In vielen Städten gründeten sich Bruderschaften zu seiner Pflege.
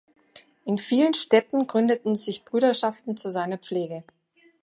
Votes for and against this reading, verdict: 0, 2, rejected